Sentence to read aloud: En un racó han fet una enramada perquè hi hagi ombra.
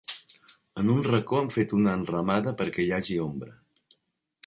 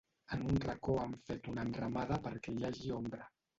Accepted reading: first